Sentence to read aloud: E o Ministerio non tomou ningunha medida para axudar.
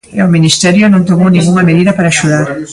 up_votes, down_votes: 0, 2